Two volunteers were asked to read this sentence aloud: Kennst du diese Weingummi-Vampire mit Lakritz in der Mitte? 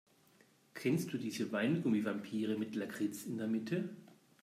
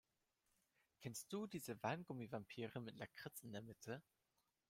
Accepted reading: first